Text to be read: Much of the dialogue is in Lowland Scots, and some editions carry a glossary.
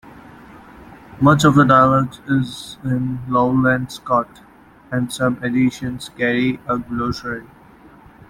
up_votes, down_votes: 1, 2